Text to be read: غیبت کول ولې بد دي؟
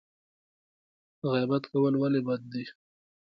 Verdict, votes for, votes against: accepted, 2, 0